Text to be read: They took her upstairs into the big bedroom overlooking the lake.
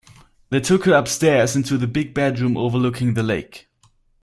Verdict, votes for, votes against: accepted, 4, 0